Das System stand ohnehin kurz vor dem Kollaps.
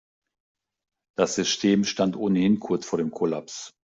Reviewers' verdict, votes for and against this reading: rejected, 0, 2